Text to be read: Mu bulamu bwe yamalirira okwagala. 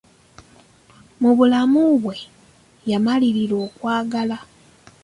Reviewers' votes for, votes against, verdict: 2, 0, accepted